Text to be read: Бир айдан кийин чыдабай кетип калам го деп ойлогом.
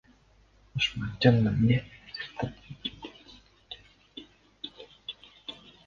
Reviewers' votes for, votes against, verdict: 0, 2, rejected